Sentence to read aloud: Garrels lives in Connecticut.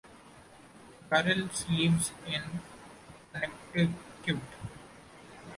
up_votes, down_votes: 0, 2